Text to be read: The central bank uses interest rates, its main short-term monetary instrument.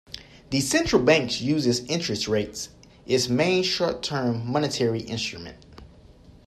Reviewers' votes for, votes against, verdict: 2, 0, accepted